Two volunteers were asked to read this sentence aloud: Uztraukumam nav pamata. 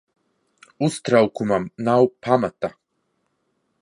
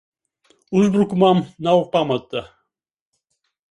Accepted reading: first